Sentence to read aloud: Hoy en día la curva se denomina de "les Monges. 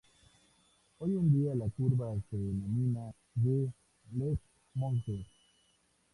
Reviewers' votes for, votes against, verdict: 0, 2, rejected